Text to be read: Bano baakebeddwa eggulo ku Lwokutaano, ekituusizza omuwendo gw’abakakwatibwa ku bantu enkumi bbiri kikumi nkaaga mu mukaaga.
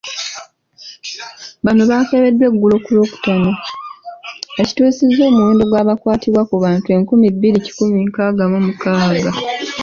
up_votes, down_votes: 2, 0